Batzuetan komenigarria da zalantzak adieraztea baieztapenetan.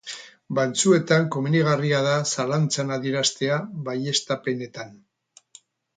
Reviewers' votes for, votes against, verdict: 0, 2, rejected